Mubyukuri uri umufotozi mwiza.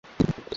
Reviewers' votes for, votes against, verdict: 1, 2, rejected